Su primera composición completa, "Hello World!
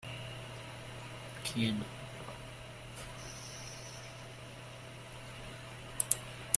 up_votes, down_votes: 0, 2